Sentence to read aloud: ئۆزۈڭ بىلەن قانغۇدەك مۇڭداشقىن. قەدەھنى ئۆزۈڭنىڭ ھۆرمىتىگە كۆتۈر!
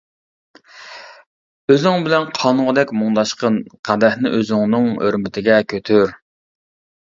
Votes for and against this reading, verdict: 2, 0, accepted